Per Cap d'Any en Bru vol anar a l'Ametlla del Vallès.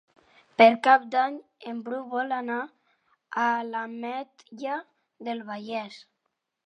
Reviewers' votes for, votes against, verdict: 3, 0, accepted